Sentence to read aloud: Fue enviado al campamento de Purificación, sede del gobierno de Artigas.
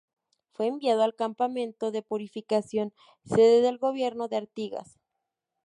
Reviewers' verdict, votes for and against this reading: accepted, 2, 0